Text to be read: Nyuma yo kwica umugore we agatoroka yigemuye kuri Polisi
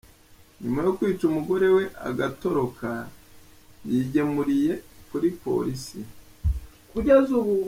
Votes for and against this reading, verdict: 1, 2, rejected